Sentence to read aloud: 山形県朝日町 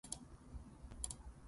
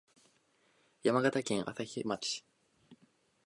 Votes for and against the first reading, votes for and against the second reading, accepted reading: 0, 2, 2, 0, second